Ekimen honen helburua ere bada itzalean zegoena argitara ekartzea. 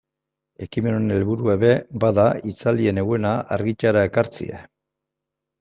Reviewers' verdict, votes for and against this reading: accepted, 2, 1